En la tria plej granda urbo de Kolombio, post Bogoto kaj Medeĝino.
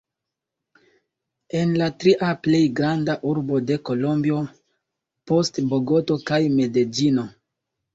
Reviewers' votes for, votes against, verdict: 1, 2, rejected